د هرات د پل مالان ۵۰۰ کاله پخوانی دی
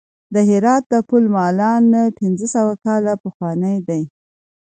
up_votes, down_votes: 0, 2